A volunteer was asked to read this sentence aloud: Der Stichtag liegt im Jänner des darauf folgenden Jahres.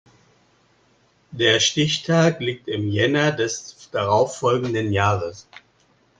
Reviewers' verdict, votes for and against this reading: rejected, 1, 2